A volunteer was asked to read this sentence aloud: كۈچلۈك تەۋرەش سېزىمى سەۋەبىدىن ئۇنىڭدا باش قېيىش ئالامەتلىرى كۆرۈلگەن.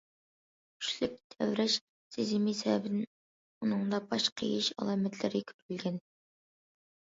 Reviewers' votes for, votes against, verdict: 1, 2, rejected